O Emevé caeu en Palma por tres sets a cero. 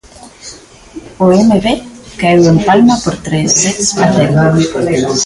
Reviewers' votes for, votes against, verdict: 1, 2, rejected